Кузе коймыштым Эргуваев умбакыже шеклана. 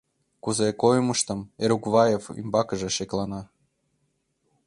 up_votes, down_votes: 1, 2